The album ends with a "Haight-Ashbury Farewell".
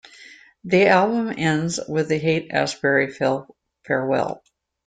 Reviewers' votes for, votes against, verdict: 0, 2, rejected